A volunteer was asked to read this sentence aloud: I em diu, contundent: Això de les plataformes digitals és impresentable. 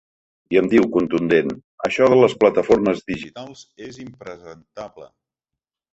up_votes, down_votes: 0, 2